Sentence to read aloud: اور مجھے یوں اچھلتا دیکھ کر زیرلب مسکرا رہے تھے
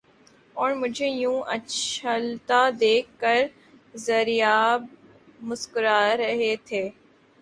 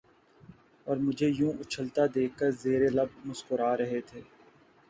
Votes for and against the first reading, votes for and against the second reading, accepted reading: 0, 3, 2, 0, second